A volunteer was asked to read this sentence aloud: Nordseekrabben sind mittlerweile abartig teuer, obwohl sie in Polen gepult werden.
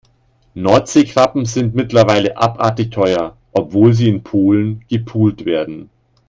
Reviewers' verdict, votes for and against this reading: accepted, 2, 0